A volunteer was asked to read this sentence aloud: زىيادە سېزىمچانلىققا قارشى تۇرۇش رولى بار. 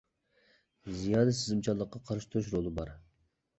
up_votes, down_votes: 0, 2